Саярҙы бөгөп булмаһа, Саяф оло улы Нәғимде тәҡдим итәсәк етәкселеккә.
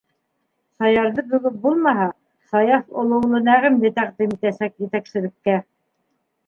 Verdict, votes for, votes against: rejected, 1, 2